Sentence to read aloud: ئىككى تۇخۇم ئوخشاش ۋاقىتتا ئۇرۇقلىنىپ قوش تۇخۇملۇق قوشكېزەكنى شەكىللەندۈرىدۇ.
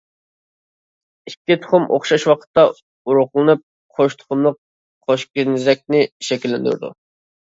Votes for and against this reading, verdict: 0, 2, rejected